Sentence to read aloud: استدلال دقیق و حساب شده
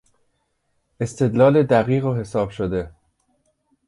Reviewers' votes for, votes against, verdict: 2, 0, accepted